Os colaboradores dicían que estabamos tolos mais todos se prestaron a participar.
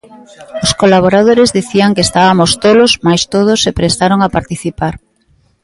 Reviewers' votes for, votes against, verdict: 0, 2, rejected